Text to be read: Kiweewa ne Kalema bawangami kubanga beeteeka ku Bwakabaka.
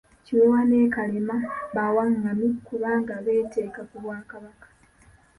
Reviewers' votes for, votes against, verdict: 3, 1, accepted